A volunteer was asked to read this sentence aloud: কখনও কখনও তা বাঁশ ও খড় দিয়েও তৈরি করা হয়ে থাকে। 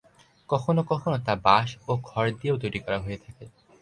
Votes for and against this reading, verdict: 2, 2, rejected